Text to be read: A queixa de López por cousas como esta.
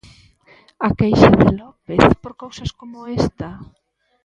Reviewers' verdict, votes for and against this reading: accepted, 2, 0